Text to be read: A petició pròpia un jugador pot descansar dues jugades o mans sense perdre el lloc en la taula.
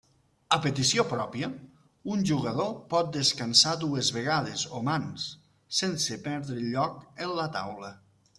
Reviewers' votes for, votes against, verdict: 0, 2, rejected